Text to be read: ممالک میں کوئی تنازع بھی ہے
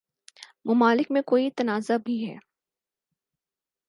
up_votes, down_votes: 4, 0